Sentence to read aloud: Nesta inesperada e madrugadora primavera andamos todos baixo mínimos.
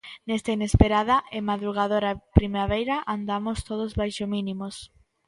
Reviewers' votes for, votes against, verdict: 1, 2, rejected